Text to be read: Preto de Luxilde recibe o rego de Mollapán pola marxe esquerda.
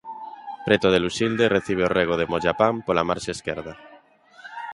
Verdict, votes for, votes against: accepted, 2, 0